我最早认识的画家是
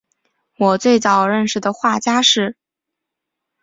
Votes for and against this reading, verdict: 4, 0, accepted